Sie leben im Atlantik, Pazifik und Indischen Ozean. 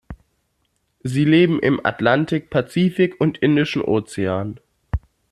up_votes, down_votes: 2, 0